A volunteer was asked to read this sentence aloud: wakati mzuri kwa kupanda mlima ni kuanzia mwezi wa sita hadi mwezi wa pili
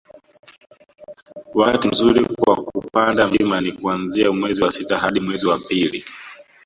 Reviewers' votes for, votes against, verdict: 0, 2, rejected